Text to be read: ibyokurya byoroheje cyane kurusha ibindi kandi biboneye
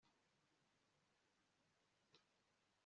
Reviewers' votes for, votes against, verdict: 1, 2, rejected